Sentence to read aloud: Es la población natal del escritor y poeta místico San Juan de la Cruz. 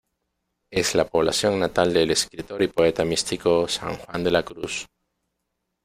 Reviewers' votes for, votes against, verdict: 2, 1, accepted